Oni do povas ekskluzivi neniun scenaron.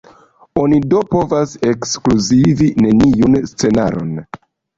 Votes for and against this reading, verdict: 2, 0, accepted